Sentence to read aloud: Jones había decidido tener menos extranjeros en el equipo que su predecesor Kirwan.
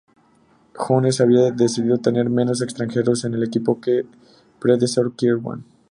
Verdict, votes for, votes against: rejected, 0, 2